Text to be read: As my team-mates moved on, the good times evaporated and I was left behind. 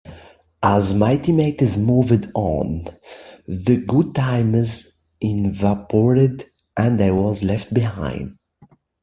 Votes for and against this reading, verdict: 0, 2, rejected